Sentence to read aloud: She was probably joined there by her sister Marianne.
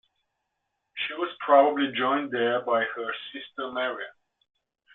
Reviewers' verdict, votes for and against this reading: accepted, 2, 0